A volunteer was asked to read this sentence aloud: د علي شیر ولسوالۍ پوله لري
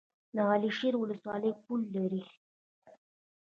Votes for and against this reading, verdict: 2, 0, accepted